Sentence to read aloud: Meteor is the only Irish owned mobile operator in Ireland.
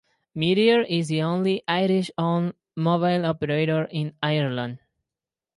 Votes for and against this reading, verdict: 4, 0, accepted